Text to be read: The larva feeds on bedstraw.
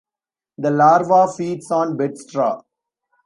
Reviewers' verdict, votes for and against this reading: accepted, 2, 1